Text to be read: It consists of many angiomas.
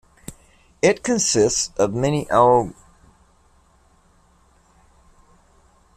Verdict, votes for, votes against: rejected, 0, 2